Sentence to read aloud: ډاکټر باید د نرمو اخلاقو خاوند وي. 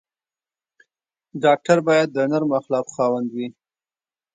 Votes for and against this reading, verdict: 1, 2, rejected